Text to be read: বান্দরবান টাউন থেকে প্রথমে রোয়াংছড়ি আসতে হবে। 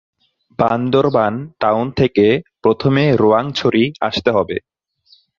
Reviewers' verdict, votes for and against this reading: accepted, 2, 0